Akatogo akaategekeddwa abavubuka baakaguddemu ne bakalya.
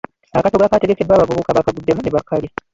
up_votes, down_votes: 0, 2